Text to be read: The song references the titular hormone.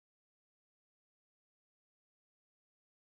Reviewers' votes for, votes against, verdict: 0, 2, rejected